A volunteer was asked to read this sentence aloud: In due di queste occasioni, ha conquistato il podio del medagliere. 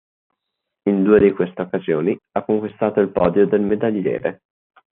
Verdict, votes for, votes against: accepted, 2, 0